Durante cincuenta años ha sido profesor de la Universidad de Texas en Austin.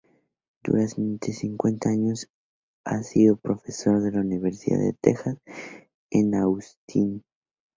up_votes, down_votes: 0, 2